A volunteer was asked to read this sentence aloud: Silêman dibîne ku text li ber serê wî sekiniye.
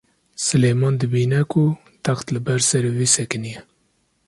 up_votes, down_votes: 2, 0